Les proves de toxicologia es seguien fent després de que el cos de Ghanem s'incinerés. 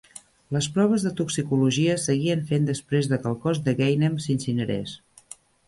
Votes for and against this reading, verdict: 2, 0, accepted